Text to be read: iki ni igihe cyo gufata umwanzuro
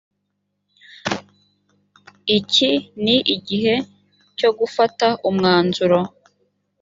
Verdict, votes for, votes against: accepted, 2, 0